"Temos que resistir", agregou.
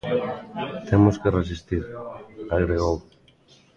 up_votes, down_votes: 2, 0